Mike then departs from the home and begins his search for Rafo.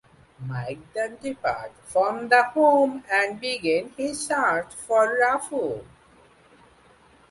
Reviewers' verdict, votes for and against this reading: accepted, 2, 0